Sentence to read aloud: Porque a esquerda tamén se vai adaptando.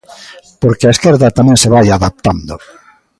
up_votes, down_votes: 2, 0